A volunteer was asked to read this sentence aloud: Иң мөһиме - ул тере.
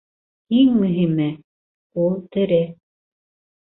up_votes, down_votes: 2, 0